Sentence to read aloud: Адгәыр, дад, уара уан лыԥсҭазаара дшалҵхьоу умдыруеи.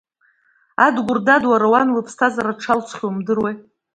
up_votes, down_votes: 2, 0